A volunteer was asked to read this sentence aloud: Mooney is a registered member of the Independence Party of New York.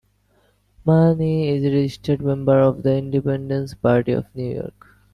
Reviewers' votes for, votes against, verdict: 1, 2, rejected